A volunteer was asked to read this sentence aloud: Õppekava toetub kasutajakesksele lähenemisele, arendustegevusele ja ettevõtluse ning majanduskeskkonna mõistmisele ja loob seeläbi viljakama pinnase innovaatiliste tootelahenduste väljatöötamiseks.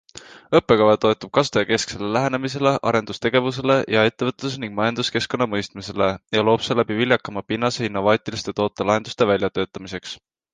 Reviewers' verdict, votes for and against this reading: accepted, 2, 1